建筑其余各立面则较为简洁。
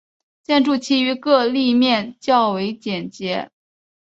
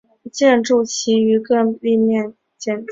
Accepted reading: first